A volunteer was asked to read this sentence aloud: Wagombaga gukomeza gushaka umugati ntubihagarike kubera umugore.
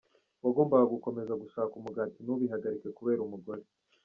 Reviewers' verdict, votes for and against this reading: accepted, 2, 1